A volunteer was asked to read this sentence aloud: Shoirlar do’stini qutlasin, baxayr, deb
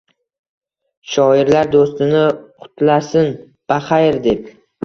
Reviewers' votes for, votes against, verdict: 2, 0, accepted